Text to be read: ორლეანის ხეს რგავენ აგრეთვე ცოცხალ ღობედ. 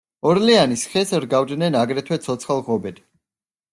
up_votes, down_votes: 0, 2